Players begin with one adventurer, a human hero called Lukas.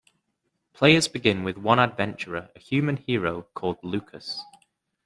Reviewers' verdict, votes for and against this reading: accepted, 2, 0